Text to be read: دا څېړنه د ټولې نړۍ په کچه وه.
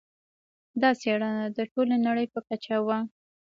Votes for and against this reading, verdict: 2, 1, accepted